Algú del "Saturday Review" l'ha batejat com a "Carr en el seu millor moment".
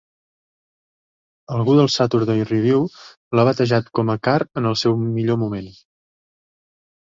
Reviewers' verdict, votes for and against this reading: accepted, 2, 0